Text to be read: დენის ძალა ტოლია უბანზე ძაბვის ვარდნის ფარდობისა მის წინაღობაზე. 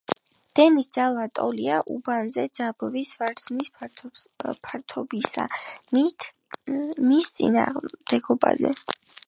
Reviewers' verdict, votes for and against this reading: rejected, 0, 7